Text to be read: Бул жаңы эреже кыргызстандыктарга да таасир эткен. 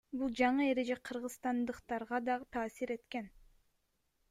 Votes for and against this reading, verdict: 2, 0, accepted